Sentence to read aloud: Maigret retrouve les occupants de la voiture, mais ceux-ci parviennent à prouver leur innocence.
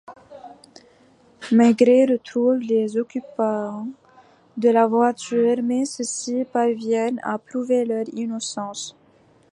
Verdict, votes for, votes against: accepted, 2, 0